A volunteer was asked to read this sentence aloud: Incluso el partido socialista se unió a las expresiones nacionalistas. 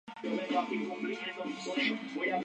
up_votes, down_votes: 0, 2